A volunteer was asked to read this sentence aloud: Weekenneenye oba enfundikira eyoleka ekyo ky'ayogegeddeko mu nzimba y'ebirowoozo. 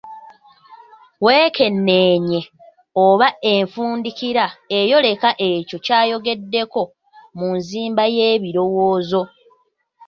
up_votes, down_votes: 2, 1